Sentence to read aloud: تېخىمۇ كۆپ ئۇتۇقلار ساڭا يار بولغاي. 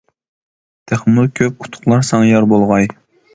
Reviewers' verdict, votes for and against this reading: accepted, 2, 0